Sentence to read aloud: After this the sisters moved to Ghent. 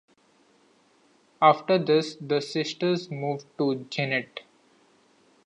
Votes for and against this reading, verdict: 1, 2, rejected